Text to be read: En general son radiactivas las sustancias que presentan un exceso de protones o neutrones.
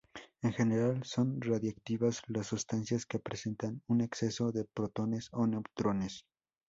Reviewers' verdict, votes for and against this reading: rejected, 0, 2